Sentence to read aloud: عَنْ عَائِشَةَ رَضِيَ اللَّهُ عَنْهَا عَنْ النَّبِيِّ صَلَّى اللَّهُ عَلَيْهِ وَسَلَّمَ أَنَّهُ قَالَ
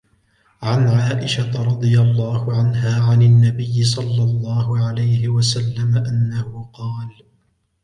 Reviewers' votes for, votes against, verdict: 2, 0, accepted